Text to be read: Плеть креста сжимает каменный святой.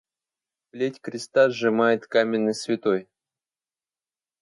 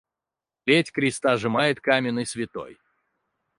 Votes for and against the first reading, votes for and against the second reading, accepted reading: 2, 0, 2, 4, first